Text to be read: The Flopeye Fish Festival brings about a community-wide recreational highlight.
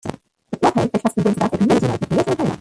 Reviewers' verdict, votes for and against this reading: rejected, 0, 2